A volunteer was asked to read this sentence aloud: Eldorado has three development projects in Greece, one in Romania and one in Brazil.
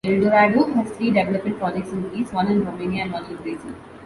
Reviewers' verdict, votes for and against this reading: rejected, 1, 2